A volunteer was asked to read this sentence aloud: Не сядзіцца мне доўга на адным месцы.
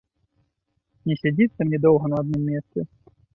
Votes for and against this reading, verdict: 3, 1, accepted